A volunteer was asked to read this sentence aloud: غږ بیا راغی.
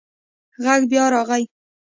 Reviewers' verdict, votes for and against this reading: accepted, 2, 0